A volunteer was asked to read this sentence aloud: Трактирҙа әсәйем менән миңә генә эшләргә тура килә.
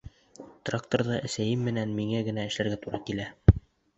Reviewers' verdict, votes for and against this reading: rejected, 0, 2